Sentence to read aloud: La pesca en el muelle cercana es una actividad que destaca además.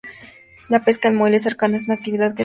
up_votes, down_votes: 0, 2